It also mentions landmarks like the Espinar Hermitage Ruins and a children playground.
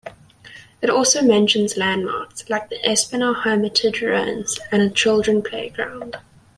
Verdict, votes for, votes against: accepted, 2, 0